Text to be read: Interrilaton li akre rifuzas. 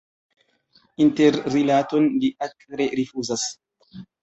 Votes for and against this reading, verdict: 0, 2, rejected